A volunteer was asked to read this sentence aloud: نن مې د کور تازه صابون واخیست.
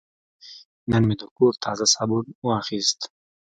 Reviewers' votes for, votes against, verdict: 2, 0, accepted